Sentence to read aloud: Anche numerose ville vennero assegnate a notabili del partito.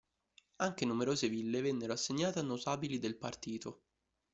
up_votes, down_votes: 2, 0